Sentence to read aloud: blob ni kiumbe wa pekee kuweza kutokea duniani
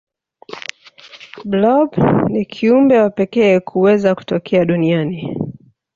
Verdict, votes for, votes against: rejected, 0, 2